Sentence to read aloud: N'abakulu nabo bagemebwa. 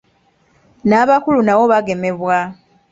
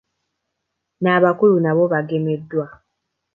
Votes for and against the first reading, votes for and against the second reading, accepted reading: 2, 0, 1, 2, first